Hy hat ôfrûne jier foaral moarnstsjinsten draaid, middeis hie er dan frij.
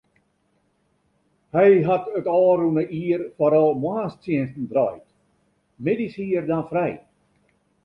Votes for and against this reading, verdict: 1, 2, rejected